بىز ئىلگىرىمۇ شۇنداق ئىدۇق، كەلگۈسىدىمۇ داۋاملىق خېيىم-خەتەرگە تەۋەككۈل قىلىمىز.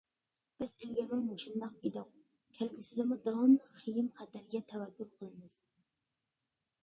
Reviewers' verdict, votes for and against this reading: rejected, 0, 2